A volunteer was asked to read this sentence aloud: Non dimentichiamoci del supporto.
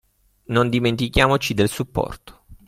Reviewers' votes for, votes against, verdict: 3, 0, accepted